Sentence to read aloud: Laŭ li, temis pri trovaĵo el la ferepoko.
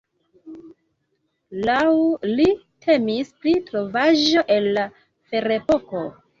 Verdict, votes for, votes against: accepted, 2, 0